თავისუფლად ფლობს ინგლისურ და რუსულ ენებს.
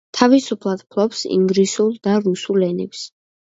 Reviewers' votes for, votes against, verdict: 2, 0, accepted